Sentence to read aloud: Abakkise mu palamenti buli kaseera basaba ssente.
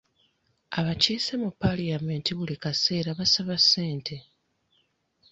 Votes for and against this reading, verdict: 1, 2, rejected